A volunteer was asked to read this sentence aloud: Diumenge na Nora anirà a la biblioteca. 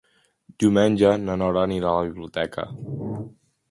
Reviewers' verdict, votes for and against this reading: accepted, 2, 1